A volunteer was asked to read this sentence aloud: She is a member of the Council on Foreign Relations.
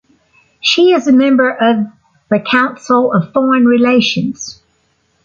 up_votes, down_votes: 1, 2